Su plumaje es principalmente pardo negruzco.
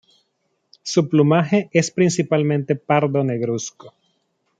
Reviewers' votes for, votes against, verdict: 2, 0, accepted